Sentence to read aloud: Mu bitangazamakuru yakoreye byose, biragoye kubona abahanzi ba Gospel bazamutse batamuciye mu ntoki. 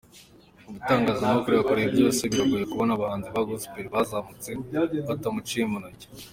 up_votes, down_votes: 0, 2